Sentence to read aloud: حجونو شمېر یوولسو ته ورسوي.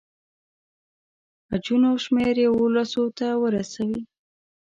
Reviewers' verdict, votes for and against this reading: accepted, 2, 0